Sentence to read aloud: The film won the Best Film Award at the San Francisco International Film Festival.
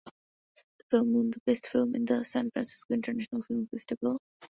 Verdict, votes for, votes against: rejected, 0, 2